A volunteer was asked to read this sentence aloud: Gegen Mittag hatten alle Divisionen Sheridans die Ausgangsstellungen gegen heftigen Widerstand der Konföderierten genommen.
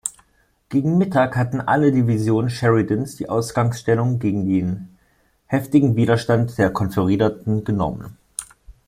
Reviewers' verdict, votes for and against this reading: rejected, 1, 4